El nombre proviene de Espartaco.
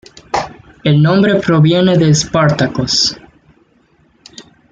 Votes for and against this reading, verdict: 0, 2, rejected